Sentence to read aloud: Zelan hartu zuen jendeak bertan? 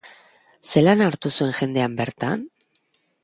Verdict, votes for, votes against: rejected, 1, 2